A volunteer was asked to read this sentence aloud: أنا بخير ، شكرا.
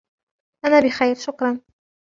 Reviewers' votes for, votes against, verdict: 2, 0, accepted